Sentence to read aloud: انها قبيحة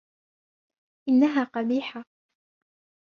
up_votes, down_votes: 2, 0